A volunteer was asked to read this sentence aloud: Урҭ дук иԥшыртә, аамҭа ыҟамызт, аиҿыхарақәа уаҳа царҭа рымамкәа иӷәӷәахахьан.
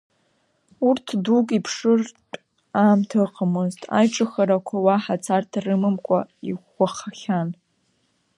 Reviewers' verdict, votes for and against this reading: rejected, 0, 2